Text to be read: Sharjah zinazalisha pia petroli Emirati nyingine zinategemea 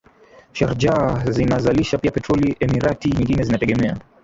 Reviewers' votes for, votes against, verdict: 0, 2, rejected